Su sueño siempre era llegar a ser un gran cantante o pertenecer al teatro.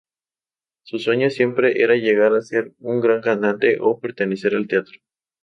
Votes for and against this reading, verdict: 0, 2, rejected